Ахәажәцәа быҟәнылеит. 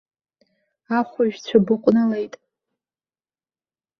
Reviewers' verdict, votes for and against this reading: accepted, 2, 0